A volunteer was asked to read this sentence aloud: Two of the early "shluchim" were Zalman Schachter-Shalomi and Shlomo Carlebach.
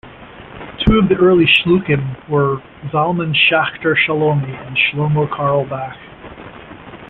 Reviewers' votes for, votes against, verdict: 1, 2, rejected